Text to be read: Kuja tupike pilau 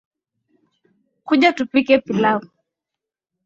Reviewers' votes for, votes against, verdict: 2, 0, accepted